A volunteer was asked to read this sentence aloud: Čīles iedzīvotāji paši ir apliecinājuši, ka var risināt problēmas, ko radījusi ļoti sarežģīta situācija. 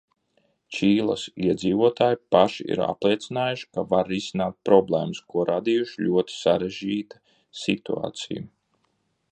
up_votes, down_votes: 1, 2